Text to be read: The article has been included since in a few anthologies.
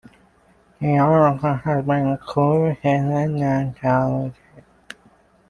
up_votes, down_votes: 0, 2